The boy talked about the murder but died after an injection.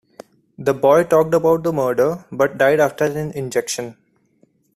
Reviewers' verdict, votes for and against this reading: accepted, 2, 1